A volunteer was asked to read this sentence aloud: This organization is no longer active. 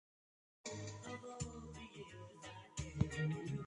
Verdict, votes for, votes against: rejected, 0, 2